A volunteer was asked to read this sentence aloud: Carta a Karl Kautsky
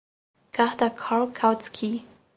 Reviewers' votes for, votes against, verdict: 2, 0, accepted